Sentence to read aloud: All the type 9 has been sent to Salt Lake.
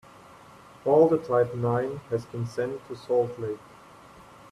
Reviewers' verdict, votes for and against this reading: rejected, 0, 2